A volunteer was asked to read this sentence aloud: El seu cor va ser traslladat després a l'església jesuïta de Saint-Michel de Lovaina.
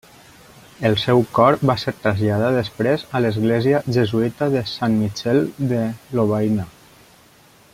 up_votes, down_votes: 2, 1